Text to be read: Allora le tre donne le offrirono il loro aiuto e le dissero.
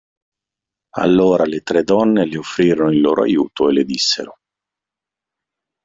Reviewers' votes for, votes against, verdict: 2, 0, accepted